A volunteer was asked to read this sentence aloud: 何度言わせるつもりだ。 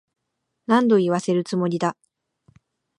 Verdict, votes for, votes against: accepted, 2, 0